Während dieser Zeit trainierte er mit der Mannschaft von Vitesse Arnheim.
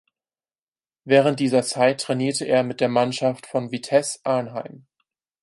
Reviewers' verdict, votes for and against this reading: accepted, 4, 0